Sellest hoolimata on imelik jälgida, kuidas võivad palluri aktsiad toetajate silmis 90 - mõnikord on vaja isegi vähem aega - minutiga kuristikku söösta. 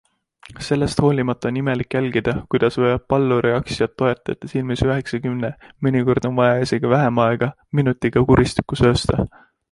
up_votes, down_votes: 0, 2